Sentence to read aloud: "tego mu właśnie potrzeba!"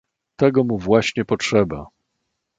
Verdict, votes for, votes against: accepted, 2, 0